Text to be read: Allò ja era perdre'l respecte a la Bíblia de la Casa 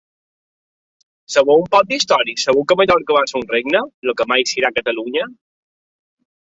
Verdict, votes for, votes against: rejected, 1, 3